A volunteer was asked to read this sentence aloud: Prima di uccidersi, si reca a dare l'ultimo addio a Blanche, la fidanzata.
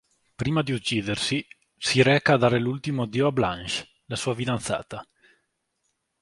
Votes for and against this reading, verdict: 1, 2, rejected